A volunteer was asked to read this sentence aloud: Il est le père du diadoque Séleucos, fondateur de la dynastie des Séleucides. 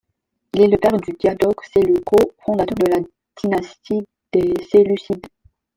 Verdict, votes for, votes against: rejected, 1, 3